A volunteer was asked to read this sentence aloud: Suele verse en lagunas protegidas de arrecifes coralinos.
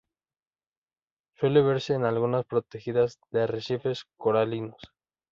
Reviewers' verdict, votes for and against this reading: rejected, 0, 2